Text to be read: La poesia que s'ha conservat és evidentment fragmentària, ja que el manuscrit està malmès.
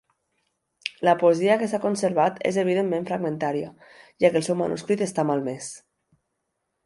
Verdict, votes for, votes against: rejected, 0, 2